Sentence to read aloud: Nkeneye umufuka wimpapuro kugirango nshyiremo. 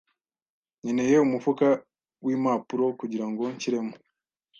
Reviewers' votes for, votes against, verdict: 2, 0, accepted